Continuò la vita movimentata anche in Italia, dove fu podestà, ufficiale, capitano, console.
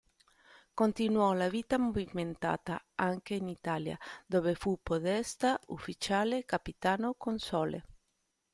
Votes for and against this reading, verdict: 0, 2, rejected